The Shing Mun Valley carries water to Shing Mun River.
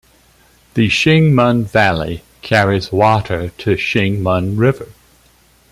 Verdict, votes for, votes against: accepted, 2, 0